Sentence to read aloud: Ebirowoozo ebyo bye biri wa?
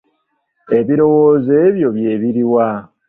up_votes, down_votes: 0, 2